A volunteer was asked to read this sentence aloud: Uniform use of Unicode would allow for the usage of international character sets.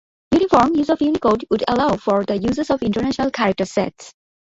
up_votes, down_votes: 2, 3